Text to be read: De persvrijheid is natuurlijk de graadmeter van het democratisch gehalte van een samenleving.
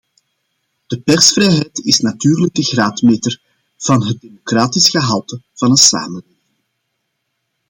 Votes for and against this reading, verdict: 0, 2, rejected